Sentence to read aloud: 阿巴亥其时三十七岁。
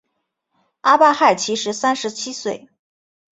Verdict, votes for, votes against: accepted, 3, 0